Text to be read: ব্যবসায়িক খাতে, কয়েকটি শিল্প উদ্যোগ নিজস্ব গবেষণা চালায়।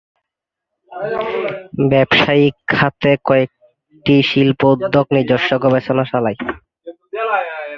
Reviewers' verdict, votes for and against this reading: rejected, 0, 3